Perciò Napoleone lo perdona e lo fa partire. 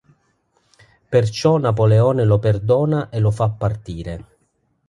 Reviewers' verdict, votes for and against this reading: accepted, 3, 0